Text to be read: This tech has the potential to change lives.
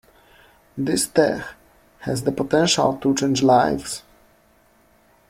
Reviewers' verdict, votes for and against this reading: rejected, 1, 2